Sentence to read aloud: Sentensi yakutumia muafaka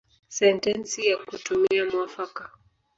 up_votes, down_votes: 1, 2